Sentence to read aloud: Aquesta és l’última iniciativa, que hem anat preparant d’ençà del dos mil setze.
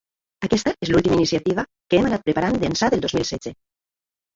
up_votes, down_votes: 3, 1